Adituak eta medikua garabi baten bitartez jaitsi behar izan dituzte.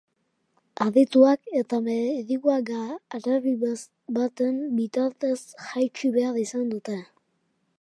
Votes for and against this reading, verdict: 1, 3, rejected